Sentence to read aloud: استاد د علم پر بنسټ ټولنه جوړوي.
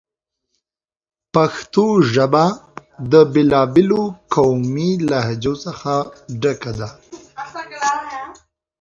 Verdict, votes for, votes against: rejected, 1, 2